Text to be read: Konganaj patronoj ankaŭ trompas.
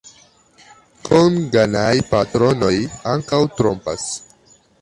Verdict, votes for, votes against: accepted, 2, 0